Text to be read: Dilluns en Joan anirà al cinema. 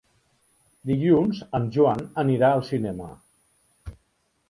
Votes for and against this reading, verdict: 3, 0, accepted